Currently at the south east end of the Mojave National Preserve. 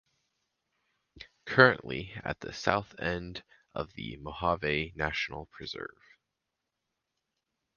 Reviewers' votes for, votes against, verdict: 0, 4, rejected